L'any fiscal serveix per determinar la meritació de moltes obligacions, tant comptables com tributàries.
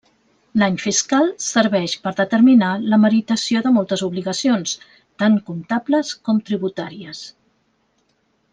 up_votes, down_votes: 3, 0